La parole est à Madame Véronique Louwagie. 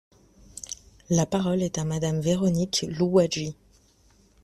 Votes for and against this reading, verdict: 2, 0, accepted